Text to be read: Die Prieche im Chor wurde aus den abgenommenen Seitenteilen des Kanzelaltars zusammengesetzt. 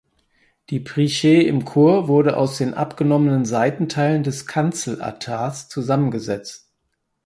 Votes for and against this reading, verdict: 2, 4, rejected